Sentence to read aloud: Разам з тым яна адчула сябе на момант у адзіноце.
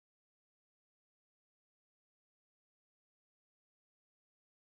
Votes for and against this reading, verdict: 0, 2, rejected